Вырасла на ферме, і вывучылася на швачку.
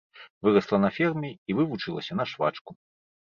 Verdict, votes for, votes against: accepted, 3, 0